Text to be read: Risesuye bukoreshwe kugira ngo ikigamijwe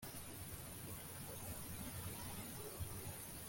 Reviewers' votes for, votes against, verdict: 0, 2, rejected